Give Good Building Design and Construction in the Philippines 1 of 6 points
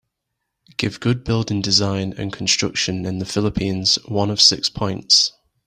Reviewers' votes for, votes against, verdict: 0, 2, rejected